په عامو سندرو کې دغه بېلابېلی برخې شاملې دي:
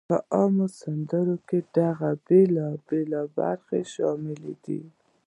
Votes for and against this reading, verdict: 1, 3, rejected